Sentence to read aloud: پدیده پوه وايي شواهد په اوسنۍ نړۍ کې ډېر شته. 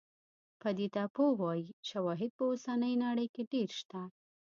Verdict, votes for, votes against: rejected, 1, 2